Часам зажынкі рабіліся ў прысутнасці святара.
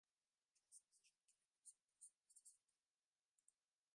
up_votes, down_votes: 0, 2